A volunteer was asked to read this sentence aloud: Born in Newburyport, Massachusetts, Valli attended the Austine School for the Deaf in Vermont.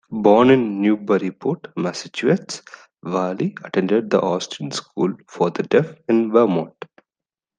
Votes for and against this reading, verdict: 0, 2, rejected